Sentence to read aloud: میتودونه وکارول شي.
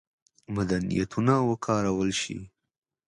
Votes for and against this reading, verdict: 2, 1, accepted